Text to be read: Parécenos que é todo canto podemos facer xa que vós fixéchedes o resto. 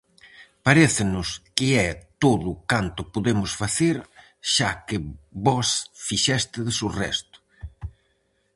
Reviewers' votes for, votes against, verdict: 0, 4, rejected